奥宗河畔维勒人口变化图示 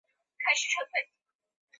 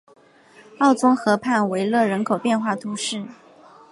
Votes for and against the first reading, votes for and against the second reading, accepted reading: 2, 4, 4, 0, second